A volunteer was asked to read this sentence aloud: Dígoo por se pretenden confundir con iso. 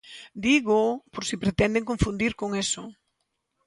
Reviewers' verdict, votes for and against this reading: rejected, 0, 2